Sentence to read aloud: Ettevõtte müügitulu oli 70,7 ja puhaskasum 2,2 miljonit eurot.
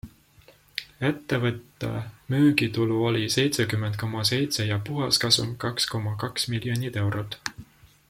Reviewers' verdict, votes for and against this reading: rejected, 0, 2